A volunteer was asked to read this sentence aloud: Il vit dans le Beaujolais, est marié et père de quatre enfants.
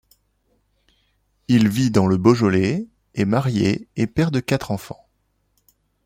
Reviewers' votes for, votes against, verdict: 2, 0, accepted